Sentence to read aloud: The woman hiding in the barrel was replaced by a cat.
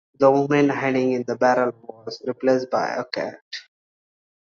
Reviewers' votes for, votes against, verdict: 2, 1, accepted